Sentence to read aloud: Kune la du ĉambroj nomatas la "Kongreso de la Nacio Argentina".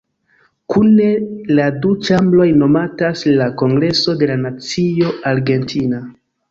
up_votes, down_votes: 2, 0